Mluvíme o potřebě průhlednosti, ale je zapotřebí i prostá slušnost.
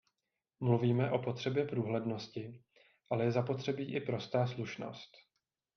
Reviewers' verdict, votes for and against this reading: accepted, 2, 0